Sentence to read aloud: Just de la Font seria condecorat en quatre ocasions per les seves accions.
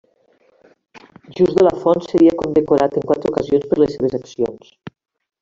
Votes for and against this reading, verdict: 2, 1, accepted